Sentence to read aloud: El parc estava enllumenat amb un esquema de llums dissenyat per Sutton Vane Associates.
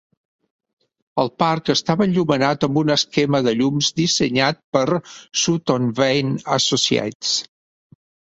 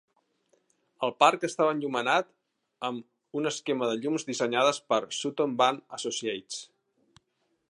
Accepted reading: first